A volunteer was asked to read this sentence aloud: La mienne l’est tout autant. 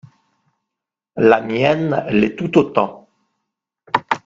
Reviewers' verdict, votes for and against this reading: accepted, 2, 0